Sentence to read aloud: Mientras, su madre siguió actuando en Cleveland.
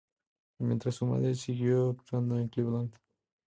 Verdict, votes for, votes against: rejected, 0, 2